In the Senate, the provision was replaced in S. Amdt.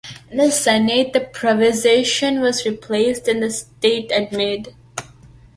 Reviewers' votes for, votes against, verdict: 1, 2, rejected